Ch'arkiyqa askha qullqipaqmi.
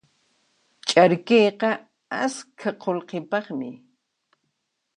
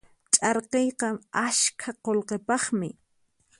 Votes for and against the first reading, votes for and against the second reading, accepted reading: 1, 2, 4, 0, second